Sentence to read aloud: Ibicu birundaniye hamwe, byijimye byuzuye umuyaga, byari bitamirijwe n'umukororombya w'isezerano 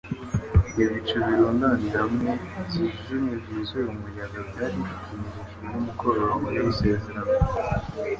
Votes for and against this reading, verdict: 1, 2, rejected